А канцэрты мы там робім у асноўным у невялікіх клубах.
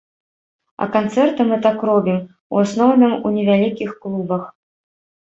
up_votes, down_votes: 0, 2